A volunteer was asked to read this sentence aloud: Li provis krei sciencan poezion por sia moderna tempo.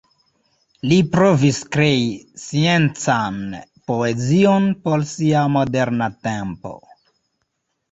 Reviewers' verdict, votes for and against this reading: rejected, 0, 2